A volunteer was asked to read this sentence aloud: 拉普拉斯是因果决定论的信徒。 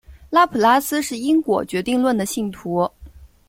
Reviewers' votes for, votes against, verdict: 2, 0, accepted